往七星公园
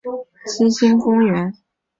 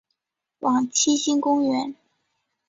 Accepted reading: second